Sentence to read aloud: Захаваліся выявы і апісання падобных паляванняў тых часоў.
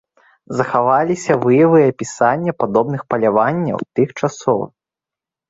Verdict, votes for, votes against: rejected, 1, 2